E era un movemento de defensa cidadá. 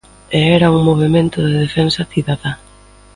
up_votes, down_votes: 2, 0